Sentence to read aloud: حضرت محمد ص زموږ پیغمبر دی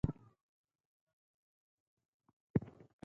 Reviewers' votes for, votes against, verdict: 0, 4, rejected